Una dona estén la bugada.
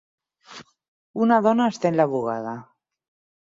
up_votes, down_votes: 6, 0